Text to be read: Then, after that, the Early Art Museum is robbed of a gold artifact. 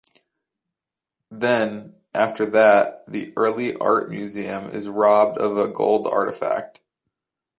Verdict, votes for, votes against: accepted, 2, 0